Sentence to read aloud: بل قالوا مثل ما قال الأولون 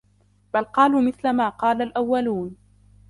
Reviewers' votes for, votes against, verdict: 2, 1, accepted